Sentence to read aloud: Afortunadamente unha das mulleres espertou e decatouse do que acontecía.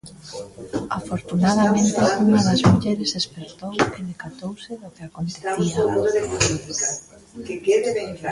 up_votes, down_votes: 0, 2